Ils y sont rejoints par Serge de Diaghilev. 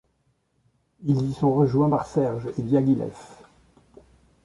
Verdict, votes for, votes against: rejected, 0, 2